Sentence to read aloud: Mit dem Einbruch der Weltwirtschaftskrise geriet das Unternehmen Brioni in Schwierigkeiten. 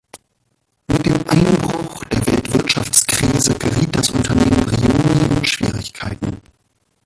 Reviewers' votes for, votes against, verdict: 0, 2, rejected